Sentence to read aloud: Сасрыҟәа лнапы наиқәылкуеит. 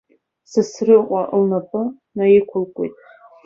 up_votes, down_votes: 2, 1